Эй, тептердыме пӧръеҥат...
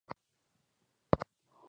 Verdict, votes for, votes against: rejected, 0, 2